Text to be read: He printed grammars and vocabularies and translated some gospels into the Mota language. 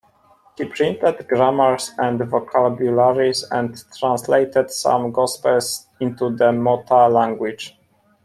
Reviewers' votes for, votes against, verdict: 2, 1, accepted